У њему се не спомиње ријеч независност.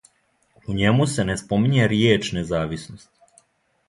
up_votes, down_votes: 2, 0